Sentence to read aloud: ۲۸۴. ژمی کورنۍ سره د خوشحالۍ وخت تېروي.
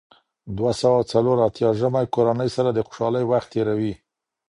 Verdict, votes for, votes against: rejected, 0, 2